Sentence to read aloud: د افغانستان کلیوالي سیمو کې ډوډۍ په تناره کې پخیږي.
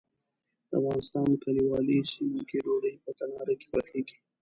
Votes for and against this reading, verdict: 0, 2, rejected